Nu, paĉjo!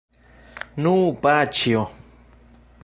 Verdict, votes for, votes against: accepted, 2, 1